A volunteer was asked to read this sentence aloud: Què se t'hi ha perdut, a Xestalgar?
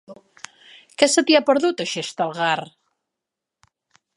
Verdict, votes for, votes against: accepted, 3, 0